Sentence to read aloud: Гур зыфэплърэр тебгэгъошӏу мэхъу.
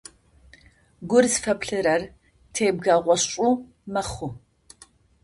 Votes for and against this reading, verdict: 2, 0, accepted